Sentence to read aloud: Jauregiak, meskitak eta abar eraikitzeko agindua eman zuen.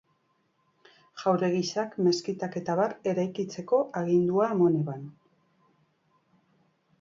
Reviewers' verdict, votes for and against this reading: rejected, 0, 3